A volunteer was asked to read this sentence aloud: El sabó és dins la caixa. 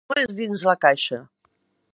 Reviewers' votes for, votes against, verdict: 0, 2, rejected